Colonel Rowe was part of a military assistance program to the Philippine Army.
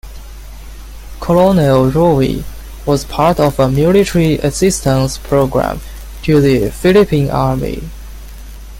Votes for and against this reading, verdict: 1, 2, rejected